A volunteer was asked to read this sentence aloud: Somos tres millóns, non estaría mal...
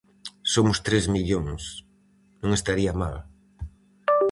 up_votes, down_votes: 4, 0